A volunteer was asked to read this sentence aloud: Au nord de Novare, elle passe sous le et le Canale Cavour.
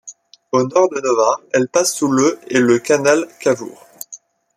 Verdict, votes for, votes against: rejected, 0, 2